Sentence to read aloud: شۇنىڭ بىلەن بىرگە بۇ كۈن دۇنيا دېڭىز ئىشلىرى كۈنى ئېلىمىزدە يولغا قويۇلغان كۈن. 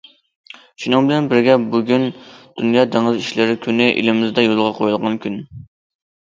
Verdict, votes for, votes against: accepted, 2, 0